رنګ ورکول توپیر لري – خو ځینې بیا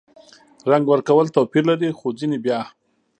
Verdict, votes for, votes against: rejected, 1, 2